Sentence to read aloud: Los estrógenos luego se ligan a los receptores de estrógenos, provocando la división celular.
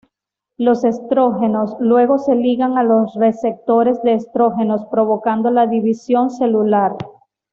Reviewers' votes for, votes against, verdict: 2, 0, accepted